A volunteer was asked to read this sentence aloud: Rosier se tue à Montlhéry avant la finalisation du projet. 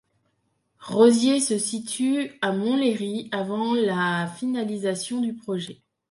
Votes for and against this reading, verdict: 0, 3, rejected